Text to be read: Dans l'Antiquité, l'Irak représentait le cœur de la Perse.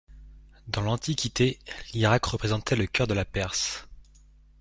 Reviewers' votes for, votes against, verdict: 2, 0, accepted